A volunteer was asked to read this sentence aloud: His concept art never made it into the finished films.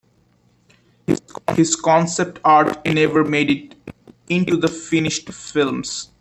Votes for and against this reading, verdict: 0, 2, rejected